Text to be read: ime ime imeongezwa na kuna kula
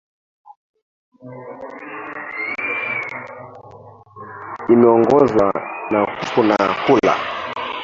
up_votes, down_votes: 1, 2